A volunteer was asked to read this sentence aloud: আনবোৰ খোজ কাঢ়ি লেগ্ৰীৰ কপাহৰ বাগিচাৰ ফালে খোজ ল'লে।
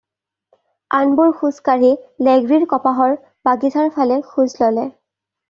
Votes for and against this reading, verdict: 2, 0, accepted